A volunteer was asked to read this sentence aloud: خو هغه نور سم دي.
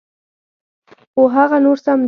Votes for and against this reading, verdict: 1, 2, rejected